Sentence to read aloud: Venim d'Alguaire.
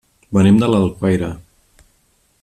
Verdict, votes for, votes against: rejected, 1, 2